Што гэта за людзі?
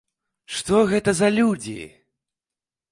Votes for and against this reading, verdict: 2, 0, accepted